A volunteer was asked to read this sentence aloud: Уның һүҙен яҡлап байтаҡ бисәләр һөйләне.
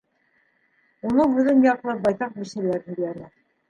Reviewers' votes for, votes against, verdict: 2, 1, accepted